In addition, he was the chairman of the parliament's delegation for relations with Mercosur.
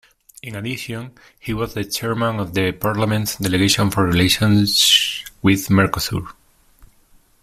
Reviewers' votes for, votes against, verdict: 2, 0, accepted